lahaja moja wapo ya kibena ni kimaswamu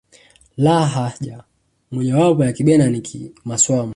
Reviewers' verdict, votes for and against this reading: rejected, 1, 2